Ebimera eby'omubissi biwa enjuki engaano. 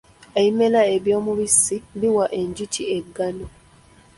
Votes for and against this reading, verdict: 2, 1, accepted